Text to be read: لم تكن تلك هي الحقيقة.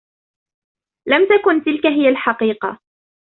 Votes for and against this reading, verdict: 0, 2, rejected